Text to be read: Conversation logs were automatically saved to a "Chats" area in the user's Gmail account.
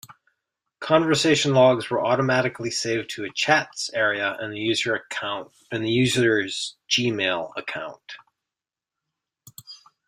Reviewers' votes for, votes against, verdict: 0, 2, rejected